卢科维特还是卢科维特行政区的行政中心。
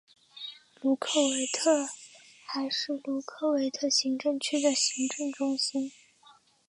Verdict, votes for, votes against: rejected, 2, 3